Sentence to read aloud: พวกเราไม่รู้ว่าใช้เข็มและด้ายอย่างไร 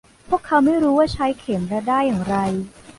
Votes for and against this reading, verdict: 1, 2, rejected